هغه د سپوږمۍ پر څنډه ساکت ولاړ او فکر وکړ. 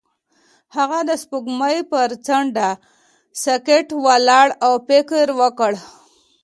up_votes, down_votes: 2, 0